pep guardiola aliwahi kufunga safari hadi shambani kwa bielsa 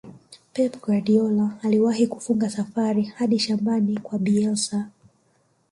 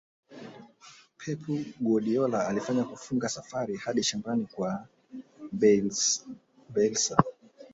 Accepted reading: second